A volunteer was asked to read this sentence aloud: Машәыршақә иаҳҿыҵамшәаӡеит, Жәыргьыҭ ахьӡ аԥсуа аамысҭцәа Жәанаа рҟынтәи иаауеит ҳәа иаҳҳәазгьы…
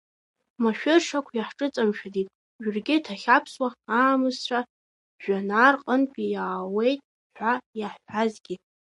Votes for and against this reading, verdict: 0, 2, rejected